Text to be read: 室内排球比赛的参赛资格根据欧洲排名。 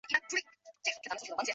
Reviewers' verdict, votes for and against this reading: rejected, 0, 3